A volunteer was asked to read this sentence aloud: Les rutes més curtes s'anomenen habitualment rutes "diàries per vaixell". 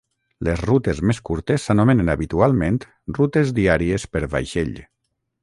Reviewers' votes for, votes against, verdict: 3, 0, accepted